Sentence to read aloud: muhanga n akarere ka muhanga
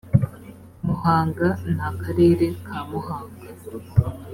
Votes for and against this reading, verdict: 3, 0, accepted